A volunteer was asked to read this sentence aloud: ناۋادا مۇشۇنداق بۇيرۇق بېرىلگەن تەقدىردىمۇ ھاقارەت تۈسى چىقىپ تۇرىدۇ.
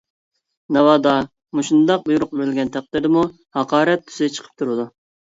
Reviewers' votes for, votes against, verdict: 2, 0, accepted